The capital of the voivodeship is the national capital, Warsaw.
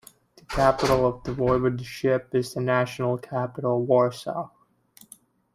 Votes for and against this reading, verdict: 1, 2, rejected